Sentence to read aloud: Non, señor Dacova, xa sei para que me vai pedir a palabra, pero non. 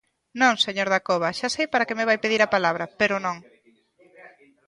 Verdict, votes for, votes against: accepted, 2, 0